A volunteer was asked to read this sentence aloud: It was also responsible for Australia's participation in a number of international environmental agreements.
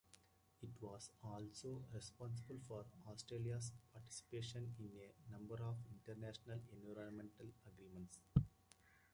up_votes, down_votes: 2, 1